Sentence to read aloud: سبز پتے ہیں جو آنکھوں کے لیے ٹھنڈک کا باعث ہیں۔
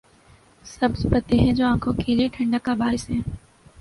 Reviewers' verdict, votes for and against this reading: accepted, 4, 0